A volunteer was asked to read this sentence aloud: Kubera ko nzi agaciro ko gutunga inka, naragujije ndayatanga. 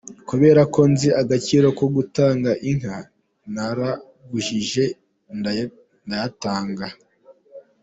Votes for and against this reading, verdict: 2, 1, accepted